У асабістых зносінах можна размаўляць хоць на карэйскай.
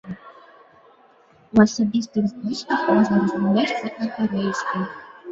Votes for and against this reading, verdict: 0, 2, rejected